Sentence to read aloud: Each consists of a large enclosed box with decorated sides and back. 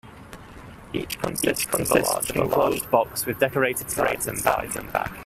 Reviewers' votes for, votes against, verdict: 0, 2, rejected